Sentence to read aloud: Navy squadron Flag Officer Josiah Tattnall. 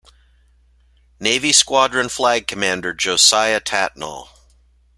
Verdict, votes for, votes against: rejected, 0, 2